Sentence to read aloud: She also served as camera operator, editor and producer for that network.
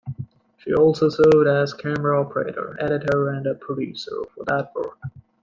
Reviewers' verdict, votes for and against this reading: rejected, 0, 2